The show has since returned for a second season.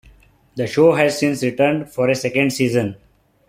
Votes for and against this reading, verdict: 2, 1, accepted